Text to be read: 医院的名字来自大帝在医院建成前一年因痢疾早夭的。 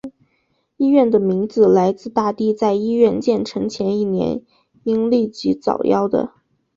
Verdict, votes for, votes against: accepted, 3, 0